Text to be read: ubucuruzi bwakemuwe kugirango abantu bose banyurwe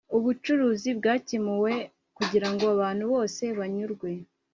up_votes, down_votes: 2, 0